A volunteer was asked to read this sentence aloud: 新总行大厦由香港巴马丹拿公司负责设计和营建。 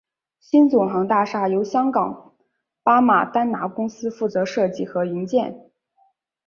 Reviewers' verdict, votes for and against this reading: accepted, 2, 0